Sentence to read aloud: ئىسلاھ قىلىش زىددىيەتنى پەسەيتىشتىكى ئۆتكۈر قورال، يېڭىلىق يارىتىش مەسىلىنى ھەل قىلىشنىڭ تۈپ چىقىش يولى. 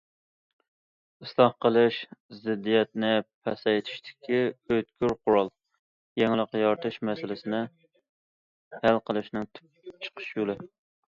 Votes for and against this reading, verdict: 0, 2, rejected